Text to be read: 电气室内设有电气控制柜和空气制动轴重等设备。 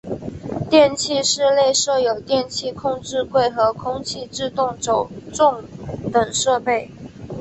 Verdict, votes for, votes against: accepted, 2, 0